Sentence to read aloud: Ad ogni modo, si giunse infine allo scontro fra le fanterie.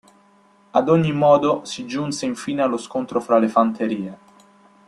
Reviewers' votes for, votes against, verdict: 2, 0, accepted